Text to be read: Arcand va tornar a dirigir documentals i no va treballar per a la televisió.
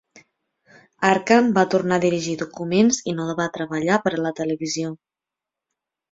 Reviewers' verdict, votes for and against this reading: rejected, 0, 2